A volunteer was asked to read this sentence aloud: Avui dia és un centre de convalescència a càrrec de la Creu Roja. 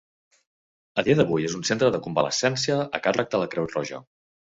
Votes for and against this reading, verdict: 1, 2, rejected